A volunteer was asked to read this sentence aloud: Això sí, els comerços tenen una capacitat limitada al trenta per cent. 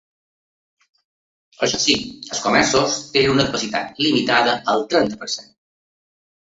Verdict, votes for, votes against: accepted, 2, 0